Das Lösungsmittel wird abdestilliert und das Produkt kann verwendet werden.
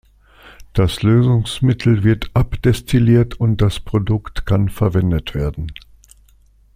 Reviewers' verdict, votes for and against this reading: accepted, 2, 0